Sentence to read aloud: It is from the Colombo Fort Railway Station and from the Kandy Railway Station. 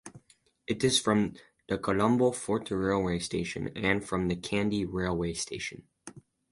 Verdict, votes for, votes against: accepted, 6, 0